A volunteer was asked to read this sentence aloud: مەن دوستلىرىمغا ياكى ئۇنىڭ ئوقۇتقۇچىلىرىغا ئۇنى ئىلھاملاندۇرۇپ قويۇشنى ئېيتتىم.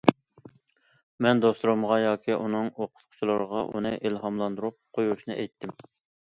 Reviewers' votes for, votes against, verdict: 2, 0, accepted